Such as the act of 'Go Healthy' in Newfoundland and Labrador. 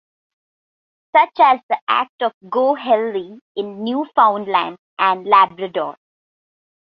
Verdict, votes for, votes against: accepted, 2, 1